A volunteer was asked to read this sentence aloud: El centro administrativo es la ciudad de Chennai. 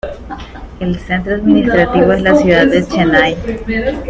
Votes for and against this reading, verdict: 2, 0, accepted